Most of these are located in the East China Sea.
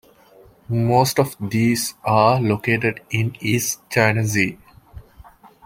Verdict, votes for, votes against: rejected, 1, 2